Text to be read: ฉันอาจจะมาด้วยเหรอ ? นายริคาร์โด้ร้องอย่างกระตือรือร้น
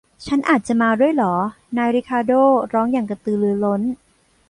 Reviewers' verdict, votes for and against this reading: rejected, 0, 2